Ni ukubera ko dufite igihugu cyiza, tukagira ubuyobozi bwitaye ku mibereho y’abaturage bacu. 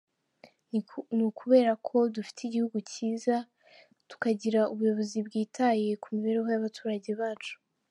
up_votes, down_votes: 0, 2